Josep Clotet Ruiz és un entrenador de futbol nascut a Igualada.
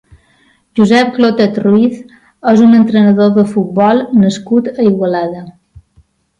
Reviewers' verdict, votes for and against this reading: accepted, 3, 0